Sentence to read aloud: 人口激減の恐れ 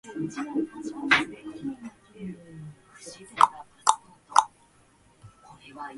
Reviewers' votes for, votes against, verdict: 0, 2, rejected